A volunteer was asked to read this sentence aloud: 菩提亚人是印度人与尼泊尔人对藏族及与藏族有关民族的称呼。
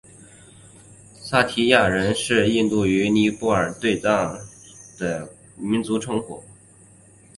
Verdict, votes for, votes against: rejected, 1, 2